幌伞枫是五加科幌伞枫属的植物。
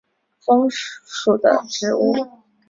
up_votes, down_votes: 0, 2